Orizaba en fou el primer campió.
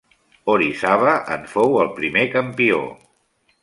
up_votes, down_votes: 2, 0